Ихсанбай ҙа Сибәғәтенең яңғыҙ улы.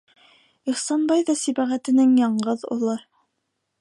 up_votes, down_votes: 2, 0